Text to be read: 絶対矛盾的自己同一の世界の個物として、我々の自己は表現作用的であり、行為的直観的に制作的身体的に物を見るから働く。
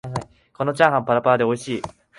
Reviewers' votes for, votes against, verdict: 0, 2, rejected